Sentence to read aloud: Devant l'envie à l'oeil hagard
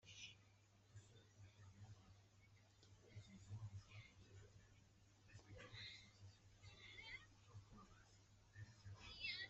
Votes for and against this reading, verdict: 1, 2, rejected